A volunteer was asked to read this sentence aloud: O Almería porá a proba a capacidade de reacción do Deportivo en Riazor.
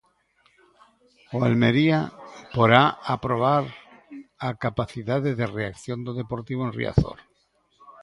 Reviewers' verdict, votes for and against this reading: rejected, 1, 6